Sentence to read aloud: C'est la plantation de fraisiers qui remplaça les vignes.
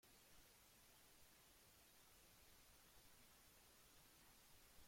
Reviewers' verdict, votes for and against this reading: rejected, 0, 2